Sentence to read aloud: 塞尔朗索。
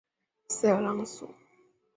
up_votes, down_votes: 5, 0